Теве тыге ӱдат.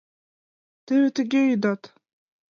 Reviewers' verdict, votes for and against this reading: accepted, 2, 0